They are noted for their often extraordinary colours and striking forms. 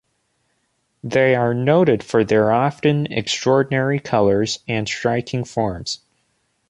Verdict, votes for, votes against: accepted, 2, 0